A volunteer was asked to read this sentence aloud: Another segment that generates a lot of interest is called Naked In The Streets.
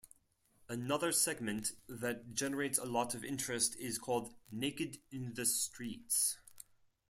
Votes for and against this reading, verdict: 4, 0, accepted